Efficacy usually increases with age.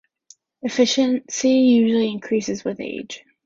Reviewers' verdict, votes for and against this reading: rejected, 0, 2